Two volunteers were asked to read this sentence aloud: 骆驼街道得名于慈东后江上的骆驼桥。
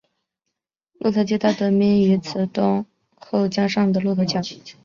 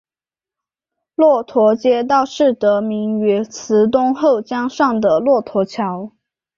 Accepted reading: first